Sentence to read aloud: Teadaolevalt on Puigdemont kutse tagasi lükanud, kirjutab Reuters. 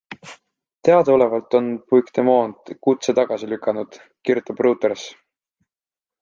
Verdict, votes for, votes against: accepted, 2, 1